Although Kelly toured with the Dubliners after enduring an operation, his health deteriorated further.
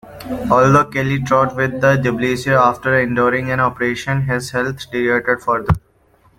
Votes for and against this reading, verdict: 0, 2, rejected